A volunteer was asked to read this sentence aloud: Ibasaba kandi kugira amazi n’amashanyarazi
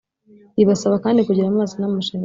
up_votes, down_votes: 0, 2